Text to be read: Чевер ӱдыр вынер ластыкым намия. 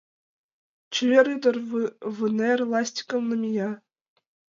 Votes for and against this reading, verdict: 0, 2, rejected